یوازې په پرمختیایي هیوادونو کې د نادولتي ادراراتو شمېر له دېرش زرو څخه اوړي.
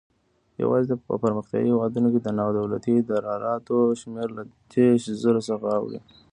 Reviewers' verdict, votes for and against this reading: rejected, 1, 2